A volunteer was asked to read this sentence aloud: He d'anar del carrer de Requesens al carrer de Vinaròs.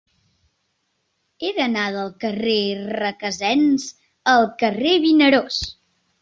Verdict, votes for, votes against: rejected, 1, 2